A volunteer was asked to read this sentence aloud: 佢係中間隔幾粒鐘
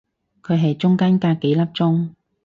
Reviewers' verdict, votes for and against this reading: accepted, 4, 0